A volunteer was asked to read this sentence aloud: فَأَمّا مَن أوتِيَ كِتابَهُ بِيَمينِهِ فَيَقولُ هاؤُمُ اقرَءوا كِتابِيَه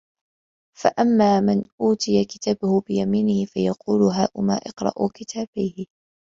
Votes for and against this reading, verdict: 0, 2, rejected